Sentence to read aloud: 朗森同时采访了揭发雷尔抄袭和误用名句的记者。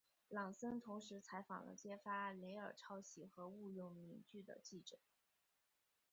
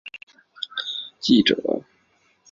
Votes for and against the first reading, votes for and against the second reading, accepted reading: 2, 0, 0, 4, first